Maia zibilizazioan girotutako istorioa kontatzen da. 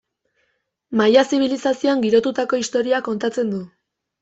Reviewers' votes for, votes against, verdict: 1, 2, rejected